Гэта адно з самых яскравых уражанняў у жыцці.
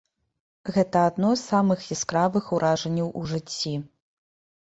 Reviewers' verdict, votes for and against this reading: accepted, 2, 0